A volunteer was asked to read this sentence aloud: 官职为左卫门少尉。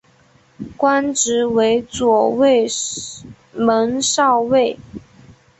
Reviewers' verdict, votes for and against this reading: rejected, 0, 2